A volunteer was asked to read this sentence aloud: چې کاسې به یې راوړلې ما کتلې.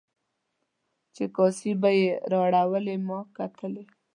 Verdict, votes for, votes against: rejected, 1, 2